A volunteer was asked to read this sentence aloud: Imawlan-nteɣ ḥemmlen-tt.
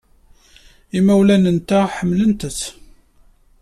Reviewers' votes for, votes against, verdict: 2, 1, accepted